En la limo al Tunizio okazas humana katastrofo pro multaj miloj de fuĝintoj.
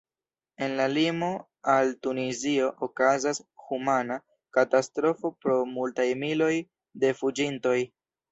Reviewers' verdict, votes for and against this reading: accepted, 2, 0